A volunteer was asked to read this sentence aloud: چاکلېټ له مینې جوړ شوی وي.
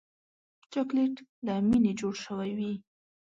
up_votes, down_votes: 3, 0